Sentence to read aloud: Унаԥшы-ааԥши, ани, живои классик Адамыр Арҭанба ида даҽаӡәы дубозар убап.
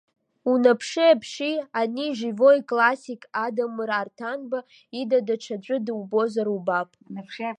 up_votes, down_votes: 0, 2